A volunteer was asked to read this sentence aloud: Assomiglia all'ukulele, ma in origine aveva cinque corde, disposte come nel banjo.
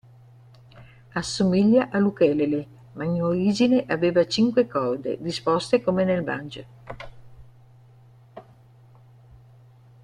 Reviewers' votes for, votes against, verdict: 0, 2, rejected